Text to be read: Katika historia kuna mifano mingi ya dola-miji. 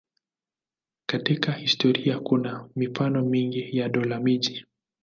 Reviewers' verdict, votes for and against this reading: accepted, 2, 0